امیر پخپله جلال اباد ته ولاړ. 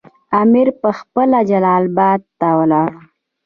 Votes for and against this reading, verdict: 2, 0, accepted